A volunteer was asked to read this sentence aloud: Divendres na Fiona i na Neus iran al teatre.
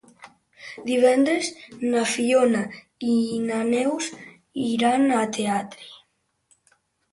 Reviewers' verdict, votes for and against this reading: accepted, 2, 1